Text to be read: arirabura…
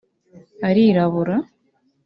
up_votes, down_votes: 2, 0